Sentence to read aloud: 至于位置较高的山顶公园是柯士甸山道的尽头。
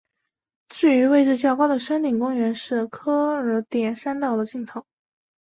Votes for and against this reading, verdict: 1, 2, rejected